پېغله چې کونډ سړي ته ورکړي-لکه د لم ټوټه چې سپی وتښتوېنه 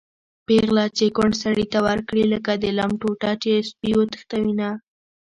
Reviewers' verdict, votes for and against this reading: rejected, 1, 2